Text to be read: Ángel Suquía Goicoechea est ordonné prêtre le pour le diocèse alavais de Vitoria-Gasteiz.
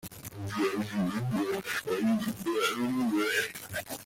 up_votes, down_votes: 0, 2